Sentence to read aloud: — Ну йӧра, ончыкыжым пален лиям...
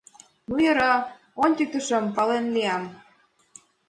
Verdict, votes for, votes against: rejected, 1, 2